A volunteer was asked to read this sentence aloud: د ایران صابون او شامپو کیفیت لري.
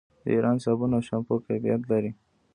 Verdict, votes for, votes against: accepted, 2, 0